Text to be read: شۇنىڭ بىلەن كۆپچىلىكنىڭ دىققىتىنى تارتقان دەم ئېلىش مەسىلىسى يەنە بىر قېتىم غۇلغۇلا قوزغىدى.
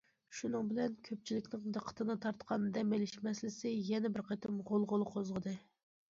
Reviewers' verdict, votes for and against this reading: accepted, 2, 0